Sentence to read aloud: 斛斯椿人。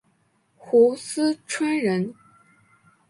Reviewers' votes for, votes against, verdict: 6, 2, accepted